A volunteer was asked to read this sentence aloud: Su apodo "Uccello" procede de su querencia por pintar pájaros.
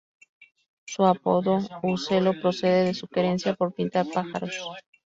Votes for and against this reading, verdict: 2, 2, rejected